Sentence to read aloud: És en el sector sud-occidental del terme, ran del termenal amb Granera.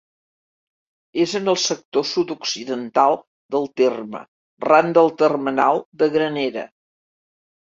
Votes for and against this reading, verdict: 0, 2, rejected